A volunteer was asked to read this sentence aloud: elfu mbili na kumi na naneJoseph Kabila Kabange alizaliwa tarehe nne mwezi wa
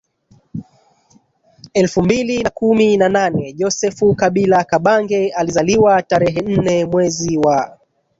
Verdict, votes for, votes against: rejected, 1, 2